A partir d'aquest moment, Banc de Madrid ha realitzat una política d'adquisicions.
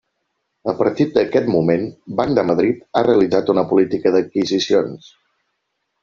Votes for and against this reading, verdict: 1, 3, rejected